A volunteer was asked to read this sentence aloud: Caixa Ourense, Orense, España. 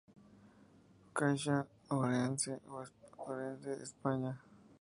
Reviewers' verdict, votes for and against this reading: accepted, 2, 0